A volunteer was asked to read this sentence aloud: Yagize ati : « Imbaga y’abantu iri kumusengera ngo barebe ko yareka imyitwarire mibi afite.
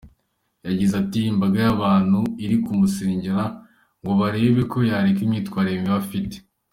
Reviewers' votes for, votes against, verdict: 2, 0, accepted